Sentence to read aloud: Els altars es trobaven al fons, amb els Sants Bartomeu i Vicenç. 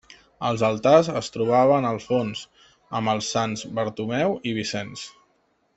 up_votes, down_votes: 2, 1